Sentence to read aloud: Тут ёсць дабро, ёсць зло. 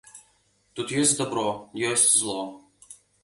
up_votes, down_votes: 2, 0